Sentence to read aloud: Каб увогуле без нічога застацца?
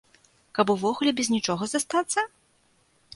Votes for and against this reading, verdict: 2, 0, accepted